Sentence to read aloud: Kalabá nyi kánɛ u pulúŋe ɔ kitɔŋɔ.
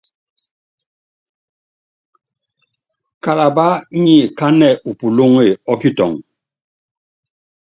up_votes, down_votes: 4, 0